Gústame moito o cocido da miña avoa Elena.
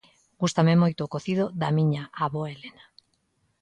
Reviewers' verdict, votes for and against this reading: accepted, 2, 0